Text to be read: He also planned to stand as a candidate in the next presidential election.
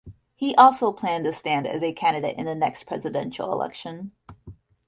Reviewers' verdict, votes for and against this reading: accepted, 2, 0